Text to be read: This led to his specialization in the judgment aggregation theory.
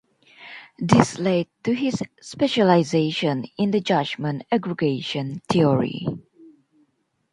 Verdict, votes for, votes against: accepted, 2, 0